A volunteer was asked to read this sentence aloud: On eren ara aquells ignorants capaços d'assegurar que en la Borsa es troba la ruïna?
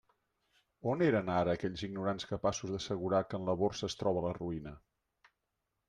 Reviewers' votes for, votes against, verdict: 2, 0, accepted